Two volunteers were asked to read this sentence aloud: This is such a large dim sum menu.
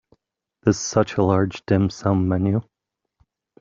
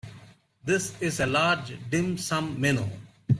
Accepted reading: first